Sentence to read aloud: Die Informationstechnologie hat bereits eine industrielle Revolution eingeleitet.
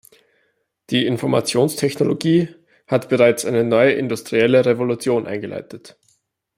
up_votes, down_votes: 0, 2